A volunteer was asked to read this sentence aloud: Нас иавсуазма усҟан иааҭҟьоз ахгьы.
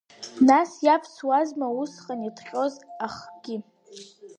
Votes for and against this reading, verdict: 0, 2, rejected